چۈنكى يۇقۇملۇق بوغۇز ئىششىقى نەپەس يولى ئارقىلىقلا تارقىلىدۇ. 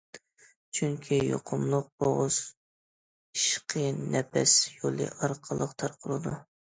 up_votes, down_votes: 0, 2